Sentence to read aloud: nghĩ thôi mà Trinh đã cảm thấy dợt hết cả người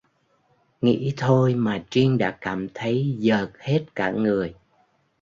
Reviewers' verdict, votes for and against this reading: rejected, 1, 2